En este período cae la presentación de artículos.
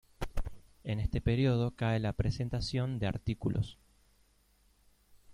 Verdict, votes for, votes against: accepted, 3, 0